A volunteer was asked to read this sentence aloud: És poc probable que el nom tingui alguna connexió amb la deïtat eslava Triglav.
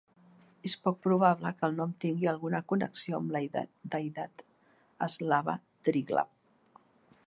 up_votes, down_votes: 0, 2